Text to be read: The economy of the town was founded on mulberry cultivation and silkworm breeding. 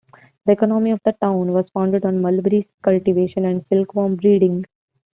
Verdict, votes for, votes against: accepted, 2, 0